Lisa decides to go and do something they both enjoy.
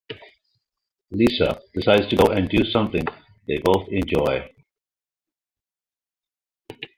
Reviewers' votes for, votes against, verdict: 0, 2, rejected